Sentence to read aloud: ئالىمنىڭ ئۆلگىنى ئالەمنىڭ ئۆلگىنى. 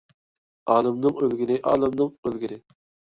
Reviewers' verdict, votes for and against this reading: rejected, 0, 2